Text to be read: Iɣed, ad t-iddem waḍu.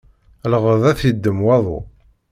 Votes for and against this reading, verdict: 2, 0, accepted